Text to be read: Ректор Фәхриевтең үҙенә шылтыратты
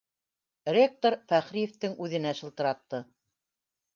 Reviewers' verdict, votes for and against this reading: accepted, 2, 0